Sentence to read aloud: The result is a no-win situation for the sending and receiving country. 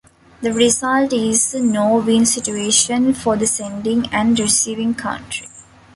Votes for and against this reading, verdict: 2, 0, accepted